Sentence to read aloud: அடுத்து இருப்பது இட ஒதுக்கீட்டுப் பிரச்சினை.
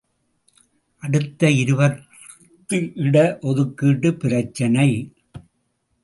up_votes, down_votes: 1, 2